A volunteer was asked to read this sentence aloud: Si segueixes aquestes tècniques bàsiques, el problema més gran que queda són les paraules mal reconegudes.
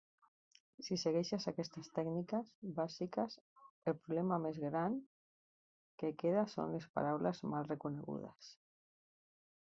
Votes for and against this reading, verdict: 0, 2, rejected